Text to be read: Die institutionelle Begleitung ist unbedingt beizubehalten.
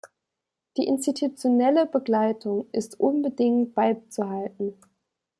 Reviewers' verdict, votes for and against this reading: rejected, 1, 2